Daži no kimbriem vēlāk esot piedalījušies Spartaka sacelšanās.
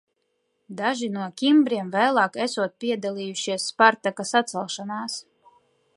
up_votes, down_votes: 2, 0